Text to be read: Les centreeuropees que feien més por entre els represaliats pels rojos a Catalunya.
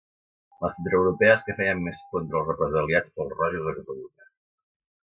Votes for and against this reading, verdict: 0, 2, rejected